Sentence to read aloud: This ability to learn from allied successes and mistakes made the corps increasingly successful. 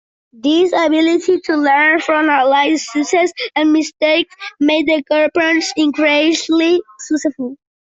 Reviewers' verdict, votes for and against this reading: rejected, 0, 2